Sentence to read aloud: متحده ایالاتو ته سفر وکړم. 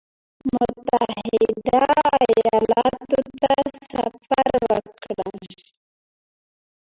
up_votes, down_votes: 0, 2